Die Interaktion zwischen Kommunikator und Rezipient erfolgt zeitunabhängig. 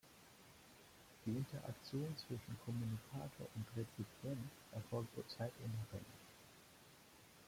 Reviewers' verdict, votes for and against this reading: rejected, 0, 2